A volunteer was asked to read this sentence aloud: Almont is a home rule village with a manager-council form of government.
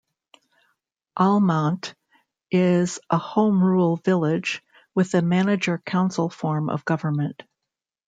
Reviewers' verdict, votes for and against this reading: accepted, 2, 0